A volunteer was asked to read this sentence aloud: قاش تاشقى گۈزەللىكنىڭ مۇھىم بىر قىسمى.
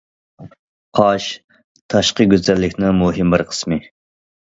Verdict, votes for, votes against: accepted, 2, 0